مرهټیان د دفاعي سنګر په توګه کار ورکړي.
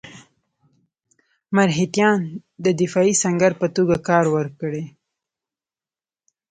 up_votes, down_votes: 1, 2